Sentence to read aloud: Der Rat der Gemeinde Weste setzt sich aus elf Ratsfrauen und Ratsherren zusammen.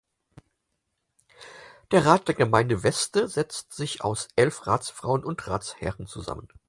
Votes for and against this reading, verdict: 4, 0, accepted